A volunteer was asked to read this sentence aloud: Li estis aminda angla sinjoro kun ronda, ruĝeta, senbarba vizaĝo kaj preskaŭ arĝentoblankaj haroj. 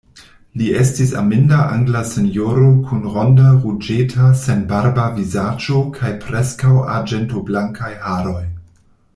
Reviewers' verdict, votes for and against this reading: accepted, 2, 0